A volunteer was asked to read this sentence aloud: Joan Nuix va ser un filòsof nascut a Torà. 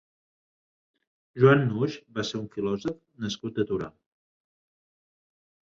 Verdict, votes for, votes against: accepted, 3, 0